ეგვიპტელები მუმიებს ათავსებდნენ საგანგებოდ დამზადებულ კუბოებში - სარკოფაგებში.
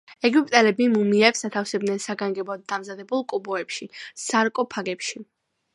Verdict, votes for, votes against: accepted, 2, 1